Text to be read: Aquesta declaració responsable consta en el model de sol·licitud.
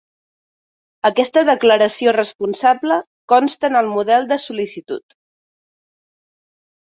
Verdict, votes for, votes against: accepted, 2, 0